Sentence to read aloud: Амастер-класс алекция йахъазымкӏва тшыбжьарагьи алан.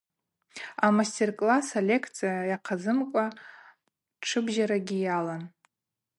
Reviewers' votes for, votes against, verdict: 2, 0, accepted